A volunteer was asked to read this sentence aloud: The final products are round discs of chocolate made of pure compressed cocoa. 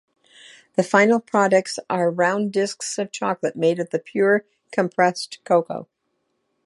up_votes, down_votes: 2, 0